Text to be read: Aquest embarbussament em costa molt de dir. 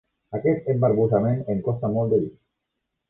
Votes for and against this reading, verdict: 4, 1, accepted